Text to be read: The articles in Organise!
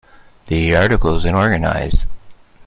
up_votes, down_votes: 2, 0